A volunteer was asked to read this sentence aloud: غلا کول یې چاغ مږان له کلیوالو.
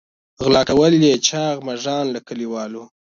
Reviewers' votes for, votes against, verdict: 2, 0, accepted